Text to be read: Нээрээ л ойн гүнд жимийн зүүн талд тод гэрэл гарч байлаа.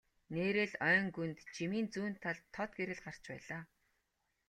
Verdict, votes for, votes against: accepted, 2, 0